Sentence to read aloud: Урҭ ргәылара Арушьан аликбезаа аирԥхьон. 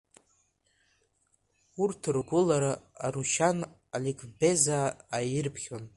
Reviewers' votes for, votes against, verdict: 0, 2, rejected